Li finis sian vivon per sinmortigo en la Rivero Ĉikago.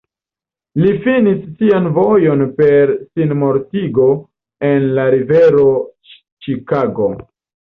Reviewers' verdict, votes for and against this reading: rejected, 0, 2